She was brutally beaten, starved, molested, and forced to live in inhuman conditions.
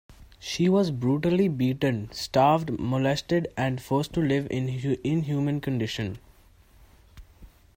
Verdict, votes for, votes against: rejected, 0, 2